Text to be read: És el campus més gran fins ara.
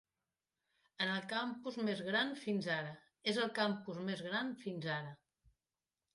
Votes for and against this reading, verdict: 0, 2, rejected